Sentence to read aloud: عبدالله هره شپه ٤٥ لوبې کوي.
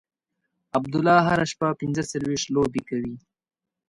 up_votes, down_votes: 0, 2